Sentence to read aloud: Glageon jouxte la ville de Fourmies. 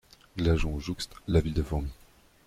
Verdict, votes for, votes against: accepted, 2, 1